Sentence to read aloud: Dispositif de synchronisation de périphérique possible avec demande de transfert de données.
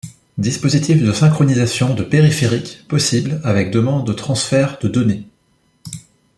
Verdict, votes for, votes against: rejected, 0, 2